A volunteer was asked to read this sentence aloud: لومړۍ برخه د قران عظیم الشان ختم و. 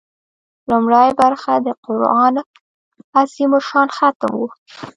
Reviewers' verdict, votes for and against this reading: rejected, 0, 2